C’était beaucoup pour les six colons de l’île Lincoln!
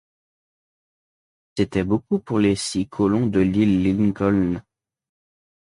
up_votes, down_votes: 2, 0